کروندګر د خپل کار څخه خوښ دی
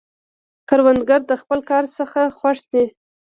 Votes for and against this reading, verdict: 0, 2, rejected